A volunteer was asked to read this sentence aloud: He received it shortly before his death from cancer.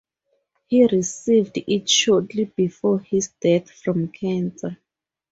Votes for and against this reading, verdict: 4, 0, accepted